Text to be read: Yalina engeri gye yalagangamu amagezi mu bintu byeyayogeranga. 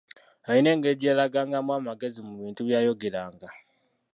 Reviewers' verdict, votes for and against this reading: rejected, 0, 2